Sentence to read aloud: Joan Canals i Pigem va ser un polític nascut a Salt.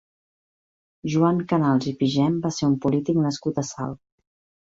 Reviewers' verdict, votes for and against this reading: accepted, 2, 0